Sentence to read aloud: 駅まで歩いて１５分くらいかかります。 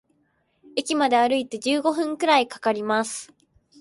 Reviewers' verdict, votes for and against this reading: rejected, 0, 2